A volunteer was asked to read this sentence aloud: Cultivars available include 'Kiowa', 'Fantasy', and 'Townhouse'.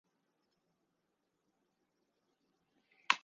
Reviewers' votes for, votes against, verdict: 0, 2, rejected